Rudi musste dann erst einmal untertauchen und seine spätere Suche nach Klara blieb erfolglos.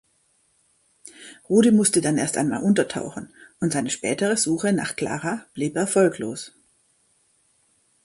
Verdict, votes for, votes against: accepted, 2, 0